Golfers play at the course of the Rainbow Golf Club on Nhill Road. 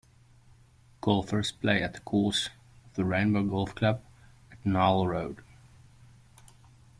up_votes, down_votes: 0, 2